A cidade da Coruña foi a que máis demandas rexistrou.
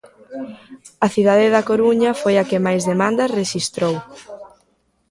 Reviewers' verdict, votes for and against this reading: accepted, 2, 1